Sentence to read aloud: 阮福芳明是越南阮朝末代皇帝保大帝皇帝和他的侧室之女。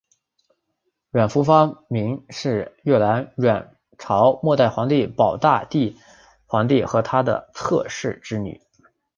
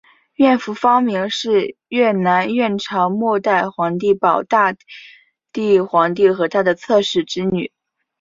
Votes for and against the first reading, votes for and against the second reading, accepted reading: 1, 2, 2, 0, second